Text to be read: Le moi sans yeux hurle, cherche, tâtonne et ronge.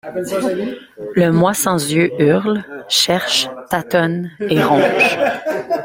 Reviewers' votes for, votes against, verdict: 1, 2, rejected